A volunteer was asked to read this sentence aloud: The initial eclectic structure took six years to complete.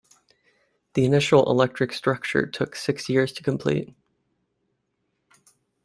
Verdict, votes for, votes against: rejected, 1, 2